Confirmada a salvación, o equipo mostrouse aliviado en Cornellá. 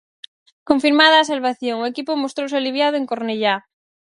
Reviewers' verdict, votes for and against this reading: accepted, 4, 0